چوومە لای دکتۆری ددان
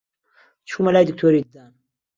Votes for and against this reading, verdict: 0, 2, rejected